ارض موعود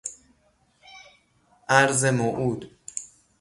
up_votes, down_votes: 3, 0